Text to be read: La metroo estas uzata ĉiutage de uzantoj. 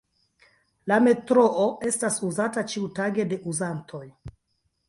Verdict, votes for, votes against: rejected, 0, 2